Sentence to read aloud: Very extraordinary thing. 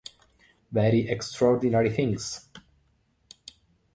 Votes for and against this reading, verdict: 0, 2, rejected